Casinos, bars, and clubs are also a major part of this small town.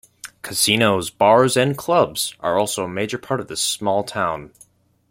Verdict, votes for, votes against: accepted, 2, 0